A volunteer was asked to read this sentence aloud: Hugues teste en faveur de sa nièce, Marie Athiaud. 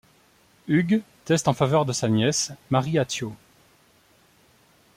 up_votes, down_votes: 2, 0